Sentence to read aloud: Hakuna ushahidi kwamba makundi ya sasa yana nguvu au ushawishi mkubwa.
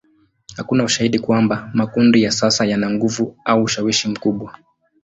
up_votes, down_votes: 2, 0